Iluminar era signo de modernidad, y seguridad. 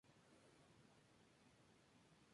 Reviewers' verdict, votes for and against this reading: rejected, 0, 2